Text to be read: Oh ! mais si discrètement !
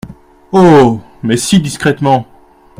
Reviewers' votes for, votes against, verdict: 2, 1, accepted